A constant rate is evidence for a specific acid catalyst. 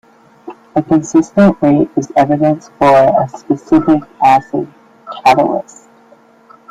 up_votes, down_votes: 0, 2